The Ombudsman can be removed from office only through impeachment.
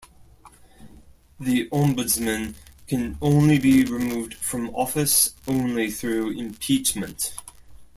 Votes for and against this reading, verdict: 1, 2, rejected